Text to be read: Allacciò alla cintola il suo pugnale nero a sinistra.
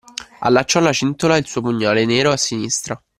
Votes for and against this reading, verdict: 2, 0, accepted